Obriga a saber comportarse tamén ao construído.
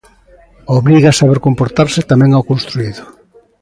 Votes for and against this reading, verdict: 2, 0, accepted